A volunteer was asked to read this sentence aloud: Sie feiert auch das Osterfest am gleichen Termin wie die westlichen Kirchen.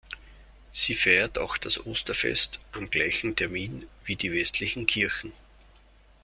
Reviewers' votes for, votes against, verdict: 1, 2, rejected